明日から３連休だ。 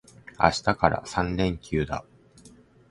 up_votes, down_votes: 0, 2